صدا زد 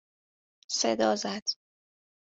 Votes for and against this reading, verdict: 2, 0, accepted